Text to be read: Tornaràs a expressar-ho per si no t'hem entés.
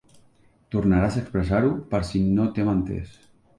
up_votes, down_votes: 2, 0